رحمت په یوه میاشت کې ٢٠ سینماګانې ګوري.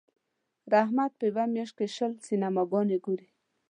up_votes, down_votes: 0, 2